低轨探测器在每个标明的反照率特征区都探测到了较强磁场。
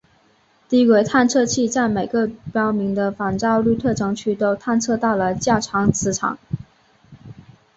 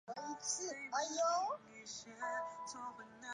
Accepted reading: first